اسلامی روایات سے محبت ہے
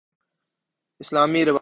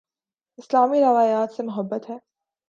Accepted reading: second